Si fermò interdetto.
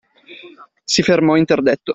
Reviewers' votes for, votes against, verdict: 2, 0, accepted